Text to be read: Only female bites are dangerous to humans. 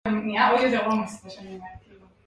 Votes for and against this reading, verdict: 1, 2, rejected